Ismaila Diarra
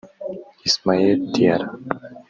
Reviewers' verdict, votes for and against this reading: rejected, 0, 2